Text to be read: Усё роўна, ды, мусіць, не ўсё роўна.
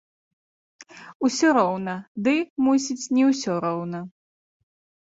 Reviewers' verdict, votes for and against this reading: accepted, 2, 0